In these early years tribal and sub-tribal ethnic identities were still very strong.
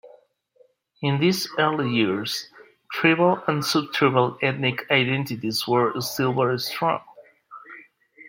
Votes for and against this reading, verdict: 2, 0, accepted